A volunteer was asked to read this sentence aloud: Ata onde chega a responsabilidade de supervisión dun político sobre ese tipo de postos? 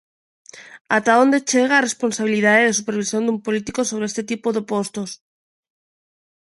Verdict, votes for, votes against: rejected, 0, 2